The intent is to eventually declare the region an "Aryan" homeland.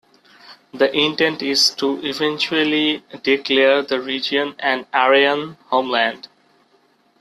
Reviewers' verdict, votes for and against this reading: accepted, 2, 1